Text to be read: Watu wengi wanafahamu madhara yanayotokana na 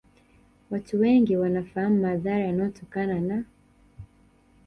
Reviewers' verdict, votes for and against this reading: rejected, 1, 2